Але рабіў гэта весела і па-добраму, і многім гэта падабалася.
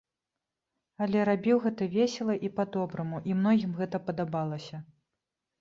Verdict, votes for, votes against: accepted, 2, 0